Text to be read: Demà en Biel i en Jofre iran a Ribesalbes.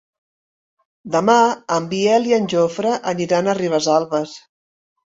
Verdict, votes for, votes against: rejected, 0, 2